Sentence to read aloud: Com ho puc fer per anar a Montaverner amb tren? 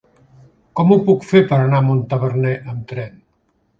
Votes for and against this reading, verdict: 3, 0, accepted